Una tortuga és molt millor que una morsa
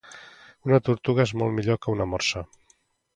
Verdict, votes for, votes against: accepted, 2, 0